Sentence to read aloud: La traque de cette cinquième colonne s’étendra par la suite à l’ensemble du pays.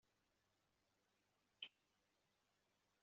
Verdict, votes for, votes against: rejected, 0, 2